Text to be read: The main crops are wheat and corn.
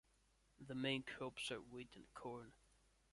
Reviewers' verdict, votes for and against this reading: rejected, 1, 2